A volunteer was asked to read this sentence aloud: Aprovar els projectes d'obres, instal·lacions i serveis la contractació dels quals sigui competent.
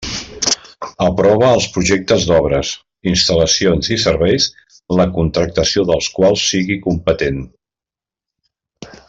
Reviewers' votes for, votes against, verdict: 1, 2, rejected